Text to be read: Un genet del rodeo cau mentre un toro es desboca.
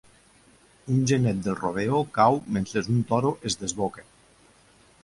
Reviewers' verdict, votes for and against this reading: rejected, 1, 2